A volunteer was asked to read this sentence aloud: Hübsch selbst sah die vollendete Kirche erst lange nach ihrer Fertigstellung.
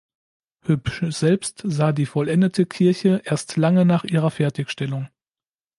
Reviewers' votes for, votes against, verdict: 1, 2, rejected